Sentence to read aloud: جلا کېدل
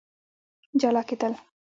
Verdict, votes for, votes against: rejected, 0, 2